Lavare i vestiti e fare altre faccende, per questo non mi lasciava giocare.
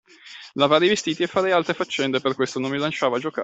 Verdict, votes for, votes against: rejected, 1, 2